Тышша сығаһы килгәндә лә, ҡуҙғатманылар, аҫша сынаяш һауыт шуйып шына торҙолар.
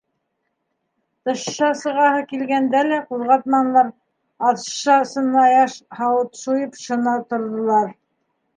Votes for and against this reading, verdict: 1, 2, rejected